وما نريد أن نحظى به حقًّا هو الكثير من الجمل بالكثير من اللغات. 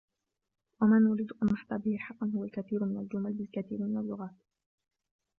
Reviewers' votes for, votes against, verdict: 1, 2, rejected